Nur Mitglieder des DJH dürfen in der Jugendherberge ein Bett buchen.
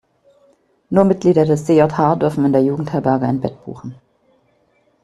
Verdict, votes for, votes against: accepted, 2, 0